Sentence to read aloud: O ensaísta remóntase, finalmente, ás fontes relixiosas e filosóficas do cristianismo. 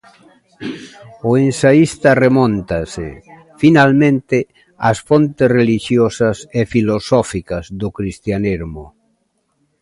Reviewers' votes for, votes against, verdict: 2, 0, accepted